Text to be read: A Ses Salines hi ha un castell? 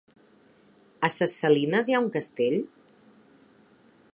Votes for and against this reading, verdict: 2, 0, accepted